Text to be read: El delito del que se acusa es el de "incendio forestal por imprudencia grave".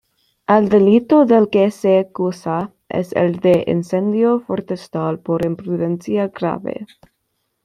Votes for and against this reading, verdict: 1, 2, rejected